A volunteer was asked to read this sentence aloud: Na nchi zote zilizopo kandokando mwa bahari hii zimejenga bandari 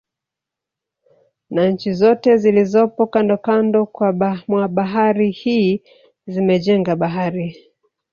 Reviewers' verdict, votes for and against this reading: rejected, 1, 2